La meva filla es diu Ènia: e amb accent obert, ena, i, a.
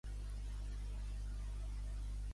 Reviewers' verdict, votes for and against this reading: rejected, 0, 2